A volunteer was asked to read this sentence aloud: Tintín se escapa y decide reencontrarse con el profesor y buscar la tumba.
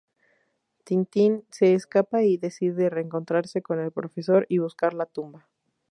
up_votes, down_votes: 2, 0